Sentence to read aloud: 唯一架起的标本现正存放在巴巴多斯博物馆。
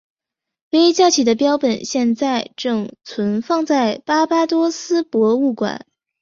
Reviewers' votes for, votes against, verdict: 3, 0, accepted